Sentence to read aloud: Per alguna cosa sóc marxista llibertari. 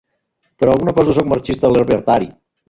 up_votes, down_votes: 0, 2